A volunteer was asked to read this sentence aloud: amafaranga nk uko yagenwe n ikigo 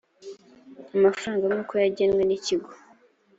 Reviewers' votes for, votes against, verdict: 2, 0, accepted